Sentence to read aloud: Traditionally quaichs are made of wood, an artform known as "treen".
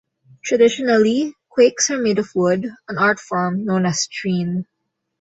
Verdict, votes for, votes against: accepted, 2, 0